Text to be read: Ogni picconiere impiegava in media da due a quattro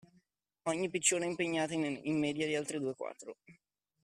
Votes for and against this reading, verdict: 0, 2, rejected